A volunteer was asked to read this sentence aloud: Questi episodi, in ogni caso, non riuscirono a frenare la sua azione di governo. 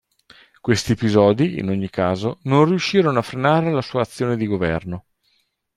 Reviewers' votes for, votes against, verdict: 2, 0, accepted